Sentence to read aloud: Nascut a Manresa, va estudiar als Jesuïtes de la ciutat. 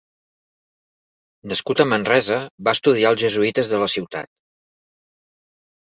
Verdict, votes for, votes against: accepted, 2, 0